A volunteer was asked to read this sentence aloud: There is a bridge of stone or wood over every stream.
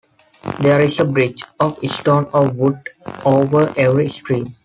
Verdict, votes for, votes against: accepted, 2, 0